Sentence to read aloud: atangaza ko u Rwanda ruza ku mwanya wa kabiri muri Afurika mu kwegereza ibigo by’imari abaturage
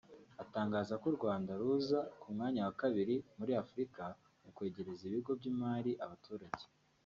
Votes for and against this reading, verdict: 1, 2, rejected